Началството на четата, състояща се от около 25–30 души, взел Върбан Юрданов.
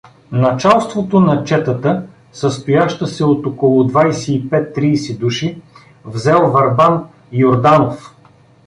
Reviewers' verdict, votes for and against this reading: rejected, 0, 2